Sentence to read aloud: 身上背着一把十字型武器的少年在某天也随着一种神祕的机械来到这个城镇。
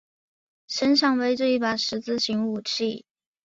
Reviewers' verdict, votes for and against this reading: rejected, 0, 2